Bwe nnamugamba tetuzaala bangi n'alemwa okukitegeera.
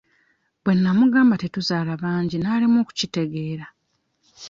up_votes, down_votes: 2, 0